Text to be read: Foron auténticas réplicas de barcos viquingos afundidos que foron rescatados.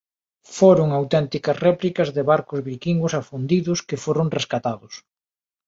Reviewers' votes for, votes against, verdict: 2, 0, accepted